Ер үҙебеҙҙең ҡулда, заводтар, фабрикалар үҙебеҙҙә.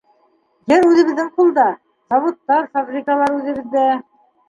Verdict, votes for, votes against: rejected, 1, 2